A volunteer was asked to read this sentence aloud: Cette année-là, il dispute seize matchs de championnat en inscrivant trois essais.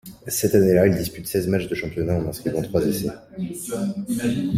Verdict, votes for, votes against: accepted, 2, 0